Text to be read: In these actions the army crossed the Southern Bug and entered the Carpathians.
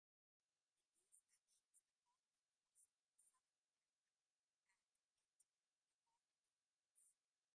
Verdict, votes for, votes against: rejected, 0, 2